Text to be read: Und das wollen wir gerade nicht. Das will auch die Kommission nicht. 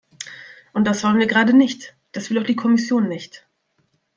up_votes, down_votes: 2, 0